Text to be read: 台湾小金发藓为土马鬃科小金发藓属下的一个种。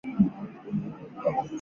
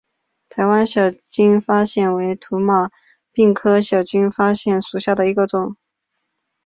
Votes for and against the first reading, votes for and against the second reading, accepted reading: 1, 4, 4, 1, second